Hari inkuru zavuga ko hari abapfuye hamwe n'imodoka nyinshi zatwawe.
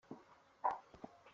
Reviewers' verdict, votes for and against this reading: rejected, 0, 2